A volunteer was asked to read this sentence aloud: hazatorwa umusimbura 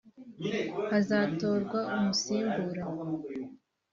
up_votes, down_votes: 0, 2